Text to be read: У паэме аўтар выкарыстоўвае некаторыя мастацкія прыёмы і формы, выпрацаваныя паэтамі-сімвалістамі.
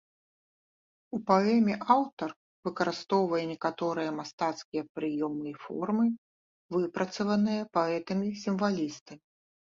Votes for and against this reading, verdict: 1, 2, rejected